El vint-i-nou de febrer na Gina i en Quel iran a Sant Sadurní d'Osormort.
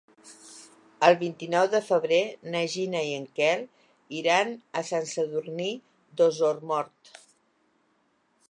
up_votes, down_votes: 2, 0